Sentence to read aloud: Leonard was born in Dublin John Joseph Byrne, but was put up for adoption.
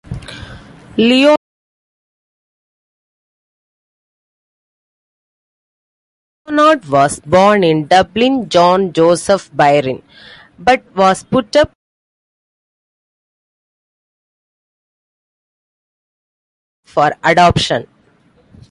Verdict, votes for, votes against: rejected, 0, 2